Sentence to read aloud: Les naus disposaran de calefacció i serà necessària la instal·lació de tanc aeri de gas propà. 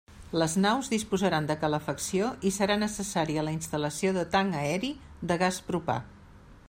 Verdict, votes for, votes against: accepted, 3, 0